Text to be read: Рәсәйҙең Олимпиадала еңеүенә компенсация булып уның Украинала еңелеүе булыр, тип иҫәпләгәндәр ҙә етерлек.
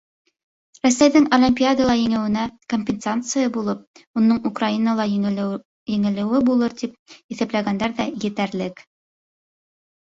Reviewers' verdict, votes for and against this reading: rejected, 0, 3